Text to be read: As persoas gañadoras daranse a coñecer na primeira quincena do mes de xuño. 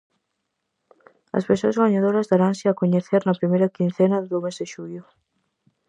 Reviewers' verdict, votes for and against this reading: rejected, 0, 4